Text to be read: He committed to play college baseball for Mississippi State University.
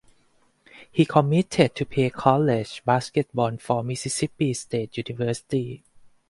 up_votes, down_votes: 4, 0